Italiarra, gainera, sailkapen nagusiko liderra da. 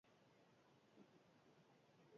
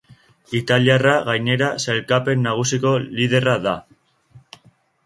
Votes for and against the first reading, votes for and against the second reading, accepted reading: 0, 8, 2, 1, second